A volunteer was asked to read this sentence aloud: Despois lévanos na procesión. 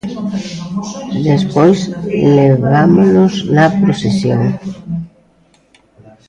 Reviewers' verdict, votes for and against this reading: rejected, 0, 3